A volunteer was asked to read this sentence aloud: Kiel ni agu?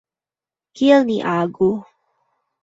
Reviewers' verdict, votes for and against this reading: rejected, 0, 2